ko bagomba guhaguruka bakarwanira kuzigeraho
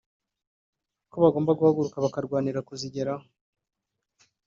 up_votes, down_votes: 2, 0